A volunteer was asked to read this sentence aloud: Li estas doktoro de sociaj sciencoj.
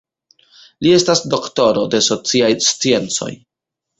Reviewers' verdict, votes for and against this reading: rejected, 0, 2